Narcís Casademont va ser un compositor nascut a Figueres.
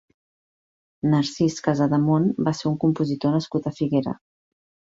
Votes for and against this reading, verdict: 0, 2, rejected